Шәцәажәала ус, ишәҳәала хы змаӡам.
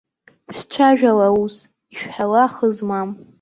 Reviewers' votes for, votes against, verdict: 1, 2, rejected